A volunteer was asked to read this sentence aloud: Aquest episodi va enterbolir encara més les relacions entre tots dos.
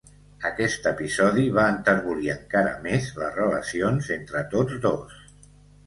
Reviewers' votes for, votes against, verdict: 2, 0, accepted